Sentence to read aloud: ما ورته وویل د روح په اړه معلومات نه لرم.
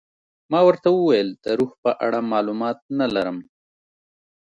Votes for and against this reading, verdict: 2, 0, accepted